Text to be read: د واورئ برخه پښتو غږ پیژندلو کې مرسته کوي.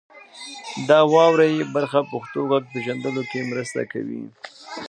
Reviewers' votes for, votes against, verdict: 1, 2, rejected